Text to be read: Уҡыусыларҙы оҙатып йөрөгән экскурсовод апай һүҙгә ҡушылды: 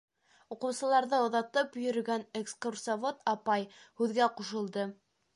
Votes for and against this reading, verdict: 2, 0, accepted